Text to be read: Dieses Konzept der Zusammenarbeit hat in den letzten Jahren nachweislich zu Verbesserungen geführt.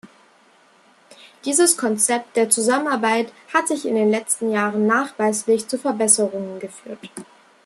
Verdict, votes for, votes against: rejected, 1, 2